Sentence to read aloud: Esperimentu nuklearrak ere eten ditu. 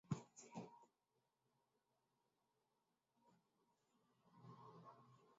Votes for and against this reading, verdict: 0, 3, rejected